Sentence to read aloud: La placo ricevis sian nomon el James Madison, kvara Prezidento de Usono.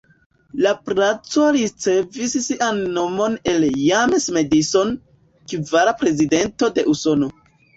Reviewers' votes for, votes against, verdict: 0, 2, rejected